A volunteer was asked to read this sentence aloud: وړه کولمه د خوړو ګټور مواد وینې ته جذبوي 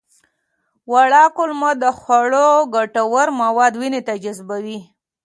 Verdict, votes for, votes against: accepted, 2, 0